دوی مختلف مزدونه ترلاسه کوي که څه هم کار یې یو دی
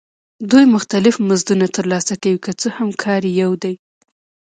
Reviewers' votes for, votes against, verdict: 1, 2, rejected